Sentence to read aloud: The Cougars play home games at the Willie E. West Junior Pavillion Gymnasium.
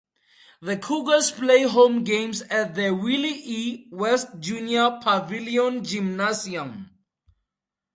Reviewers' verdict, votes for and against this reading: accepted, 2, 0